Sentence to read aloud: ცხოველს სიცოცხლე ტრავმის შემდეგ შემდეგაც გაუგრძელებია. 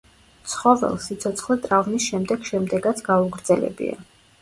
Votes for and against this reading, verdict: 0, 2, rejected